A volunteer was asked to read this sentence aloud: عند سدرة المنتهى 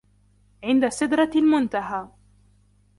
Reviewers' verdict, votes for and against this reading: accepted, 2, 0